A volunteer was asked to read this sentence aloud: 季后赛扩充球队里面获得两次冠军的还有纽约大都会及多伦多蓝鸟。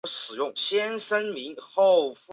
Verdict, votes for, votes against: rejected, 1, 3